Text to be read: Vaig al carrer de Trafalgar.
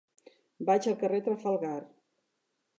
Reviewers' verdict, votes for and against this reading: rejected, 0, 2